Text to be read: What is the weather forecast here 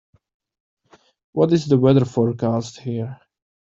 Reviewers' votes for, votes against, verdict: 2, 0, accepted